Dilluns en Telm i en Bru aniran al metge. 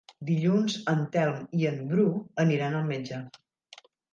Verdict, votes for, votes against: accepted, 3, 0